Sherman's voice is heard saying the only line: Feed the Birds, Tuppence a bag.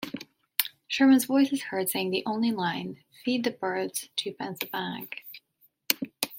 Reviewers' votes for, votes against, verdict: 2, 0, accepted